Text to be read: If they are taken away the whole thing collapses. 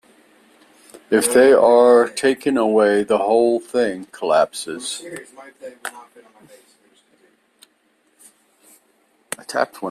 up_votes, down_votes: 2, 1